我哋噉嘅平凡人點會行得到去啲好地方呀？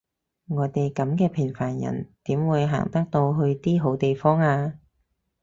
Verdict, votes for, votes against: accepted, 4, 0